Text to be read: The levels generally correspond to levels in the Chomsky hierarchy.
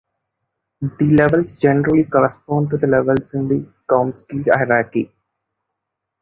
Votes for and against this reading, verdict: 2, 1, accepted